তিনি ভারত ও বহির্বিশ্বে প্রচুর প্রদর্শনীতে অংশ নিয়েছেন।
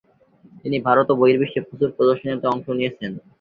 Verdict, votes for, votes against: accepted, 4, 2